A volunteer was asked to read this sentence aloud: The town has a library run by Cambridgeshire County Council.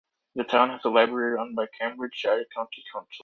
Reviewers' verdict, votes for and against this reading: rejected, 1, 2